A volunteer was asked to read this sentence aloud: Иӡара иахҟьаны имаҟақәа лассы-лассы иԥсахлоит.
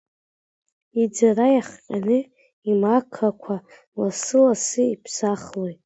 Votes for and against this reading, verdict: 1, 2, rejected